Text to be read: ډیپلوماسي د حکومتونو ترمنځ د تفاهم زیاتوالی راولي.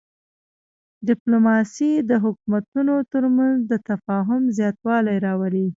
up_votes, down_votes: 0, 2